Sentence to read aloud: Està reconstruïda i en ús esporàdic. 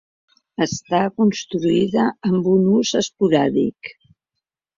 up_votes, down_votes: 0, 2